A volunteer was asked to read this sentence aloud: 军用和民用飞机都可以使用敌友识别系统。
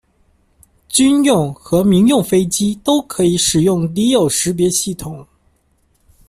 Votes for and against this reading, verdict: 2, 0, accepted